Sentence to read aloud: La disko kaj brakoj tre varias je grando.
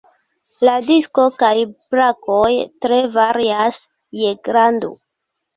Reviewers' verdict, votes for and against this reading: rejected, 1, 2